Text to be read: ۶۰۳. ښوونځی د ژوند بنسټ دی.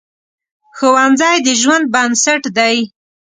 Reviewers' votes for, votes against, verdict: 0, 2, rejected